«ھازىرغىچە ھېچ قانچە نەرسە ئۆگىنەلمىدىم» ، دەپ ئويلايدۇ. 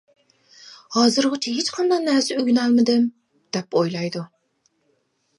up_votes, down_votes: 1, 2